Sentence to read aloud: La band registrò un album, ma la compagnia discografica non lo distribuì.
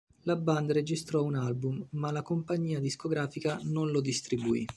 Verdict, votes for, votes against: rejected, 0, 2